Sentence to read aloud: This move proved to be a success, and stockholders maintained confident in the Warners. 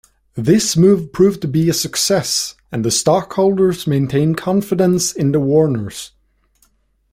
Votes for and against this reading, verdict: 1, 2, rejected